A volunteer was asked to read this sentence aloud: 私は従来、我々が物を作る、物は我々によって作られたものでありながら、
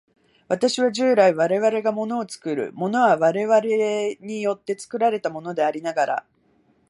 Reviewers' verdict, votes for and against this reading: rejected, 1, 2